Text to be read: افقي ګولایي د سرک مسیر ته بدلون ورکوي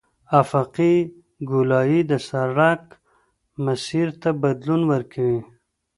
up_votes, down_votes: 2, 0